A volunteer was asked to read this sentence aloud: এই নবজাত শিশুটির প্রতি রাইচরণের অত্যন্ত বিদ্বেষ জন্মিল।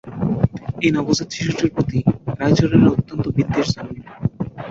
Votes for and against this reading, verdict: 5, 0, accepted